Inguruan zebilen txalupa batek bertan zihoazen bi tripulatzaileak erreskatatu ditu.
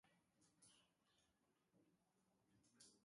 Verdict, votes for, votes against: rejected, 0, 3